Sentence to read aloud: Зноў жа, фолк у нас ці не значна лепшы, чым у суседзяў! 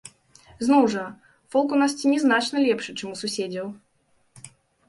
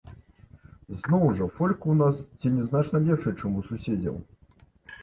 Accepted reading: first